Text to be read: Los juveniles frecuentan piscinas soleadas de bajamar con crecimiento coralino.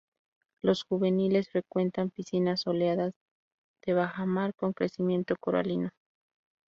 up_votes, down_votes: 4, 0